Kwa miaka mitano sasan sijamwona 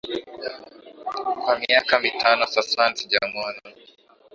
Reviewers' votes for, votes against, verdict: 2, 0, accepted